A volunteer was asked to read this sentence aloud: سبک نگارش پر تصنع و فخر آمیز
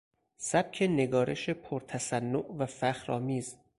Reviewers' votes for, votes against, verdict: 4, 0, accepted